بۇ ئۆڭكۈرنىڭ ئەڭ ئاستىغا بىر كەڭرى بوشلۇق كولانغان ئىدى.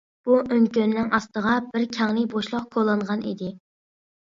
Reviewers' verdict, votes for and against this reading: rejected, 0, 2